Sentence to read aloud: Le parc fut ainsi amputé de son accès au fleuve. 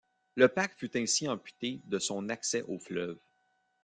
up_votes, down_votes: 1, 2